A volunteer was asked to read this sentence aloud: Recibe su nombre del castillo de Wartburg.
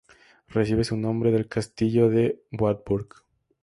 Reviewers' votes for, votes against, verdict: 2, 0, accepted